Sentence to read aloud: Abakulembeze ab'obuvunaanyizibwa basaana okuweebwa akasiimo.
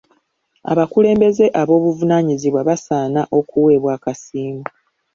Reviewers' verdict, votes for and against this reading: accepted, 2, 0